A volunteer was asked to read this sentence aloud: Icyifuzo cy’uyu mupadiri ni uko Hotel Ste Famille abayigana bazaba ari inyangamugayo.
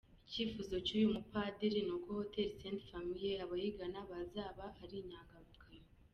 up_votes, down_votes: 1, 2